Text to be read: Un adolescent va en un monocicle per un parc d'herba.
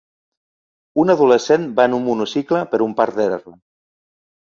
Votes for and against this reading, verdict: 1, 2, rejected